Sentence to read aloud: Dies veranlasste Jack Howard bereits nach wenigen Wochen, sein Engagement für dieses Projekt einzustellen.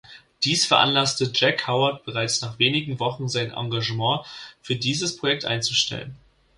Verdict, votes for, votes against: accepted, 2, 0